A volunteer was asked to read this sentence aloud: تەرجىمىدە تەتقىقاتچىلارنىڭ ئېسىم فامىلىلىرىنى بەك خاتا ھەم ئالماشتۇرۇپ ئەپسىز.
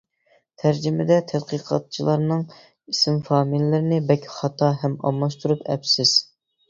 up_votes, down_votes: 2, 1